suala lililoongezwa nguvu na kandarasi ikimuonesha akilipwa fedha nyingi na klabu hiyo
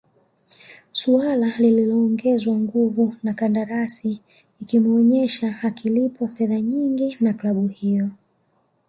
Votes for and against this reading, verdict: 0, 2, rejected